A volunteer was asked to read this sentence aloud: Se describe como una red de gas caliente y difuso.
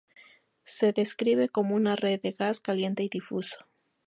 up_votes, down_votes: 2, 0